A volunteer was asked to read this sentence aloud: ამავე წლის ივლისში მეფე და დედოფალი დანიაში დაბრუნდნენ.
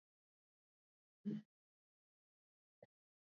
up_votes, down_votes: 0, 2